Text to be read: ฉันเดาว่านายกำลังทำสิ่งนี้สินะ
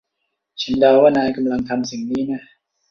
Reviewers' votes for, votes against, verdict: 1, 2, rejected